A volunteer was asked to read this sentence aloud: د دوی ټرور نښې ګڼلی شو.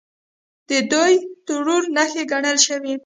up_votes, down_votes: 2, 0